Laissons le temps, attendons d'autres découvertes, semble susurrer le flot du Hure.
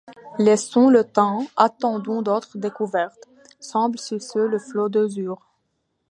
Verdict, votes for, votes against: rejected, 0, 2